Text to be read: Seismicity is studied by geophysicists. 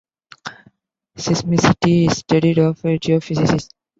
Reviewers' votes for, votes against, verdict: 1, 2, rejected